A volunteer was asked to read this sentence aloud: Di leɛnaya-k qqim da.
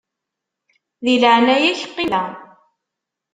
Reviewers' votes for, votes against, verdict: 1, 2, rejected